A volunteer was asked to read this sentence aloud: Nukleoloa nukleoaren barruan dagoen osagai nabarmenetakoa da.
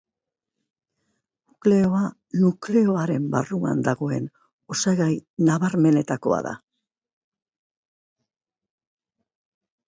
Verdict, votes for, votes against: rejected, 0, 2